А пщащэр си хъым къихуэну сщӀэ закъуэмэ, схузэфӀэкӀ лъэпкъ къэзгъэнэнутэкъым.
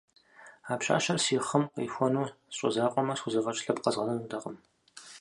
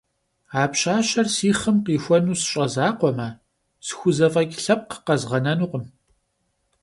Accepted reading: first